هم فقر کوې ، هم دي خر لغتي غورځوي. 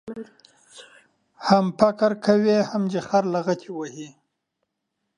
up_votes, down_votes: 2, 0